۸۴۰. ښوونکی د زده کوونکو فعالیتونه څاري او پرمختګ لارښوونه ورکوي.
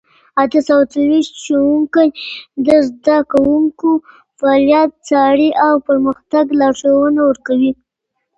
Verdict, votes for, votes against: rejected, 0, 2